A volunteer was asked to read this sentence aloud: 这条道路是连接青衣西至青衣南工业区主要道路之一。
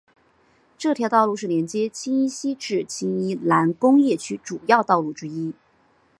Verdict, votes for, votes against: accepted, 7, 0